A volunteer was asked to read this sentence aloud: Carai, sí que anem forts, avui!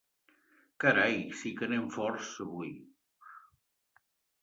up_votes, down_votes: 3, 0